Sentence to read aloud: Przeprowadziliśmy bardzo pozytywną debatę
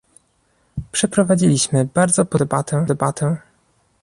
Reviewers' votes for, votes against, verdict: 0, 2, rejected